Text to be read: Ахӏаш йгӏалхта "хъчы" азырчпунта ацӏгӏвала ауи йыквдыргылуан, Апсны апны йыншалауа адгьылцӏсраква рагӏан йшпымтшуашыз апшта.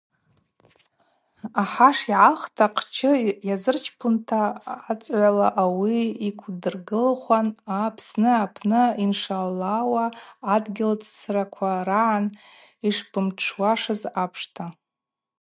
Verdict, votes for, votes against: rejected, 0, 2